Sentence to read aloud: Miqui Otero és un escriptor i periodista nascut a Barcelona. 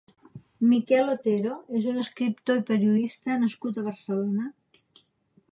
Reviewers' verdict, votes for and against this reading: rejected, 0, 4